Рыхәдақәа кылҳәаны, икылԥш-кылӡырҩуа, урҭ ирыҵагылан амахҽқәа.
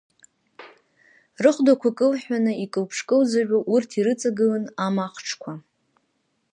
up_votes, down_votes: 0, 2